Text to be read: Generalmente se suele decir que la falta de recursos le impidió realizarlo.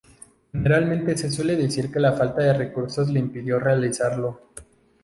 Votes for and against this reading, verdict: 2, 0, accepted